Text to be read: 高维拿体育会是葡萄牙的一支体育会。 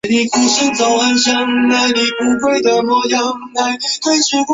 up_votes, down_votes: 0, 4